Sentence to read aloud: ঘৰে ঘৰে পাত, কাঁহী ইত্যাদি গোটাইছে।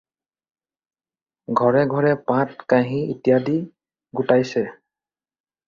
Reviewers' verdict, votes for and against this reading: rejected, 2, 2